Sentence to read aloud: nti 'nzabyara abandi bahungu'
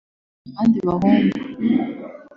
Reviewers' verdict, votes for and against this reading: rejected, 1, 2